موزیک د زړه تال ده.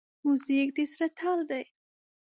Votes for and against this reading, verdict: 1, 2, rejected